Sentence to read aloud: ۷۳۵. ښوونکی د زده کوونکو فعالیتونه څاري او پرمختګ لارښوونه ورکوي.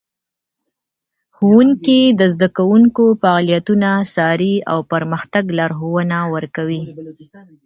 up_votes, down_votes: 0, 2